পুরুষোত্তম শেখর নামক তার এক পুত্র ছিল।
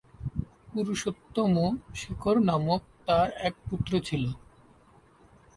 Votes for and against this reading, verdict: 0, 2, rejected